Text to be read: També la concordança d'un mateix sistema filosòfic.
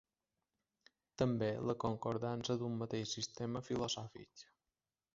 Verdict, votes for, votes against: accepted, 3, 0